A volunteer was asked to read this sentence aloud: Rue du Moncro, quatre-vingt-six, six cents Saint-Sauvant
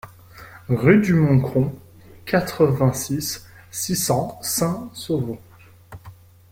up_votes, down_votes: 2, 0